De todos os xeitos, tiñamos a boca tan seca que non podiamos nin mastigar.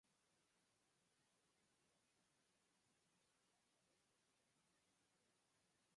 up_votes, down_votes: 0, 4